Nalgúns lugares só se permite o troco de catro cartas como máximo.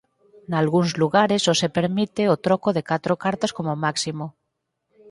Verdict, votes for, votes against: accepted, 4, 0